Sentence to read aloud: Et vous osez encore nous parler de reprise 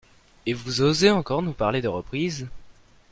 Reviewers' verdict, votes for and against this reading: accepted, 2, 0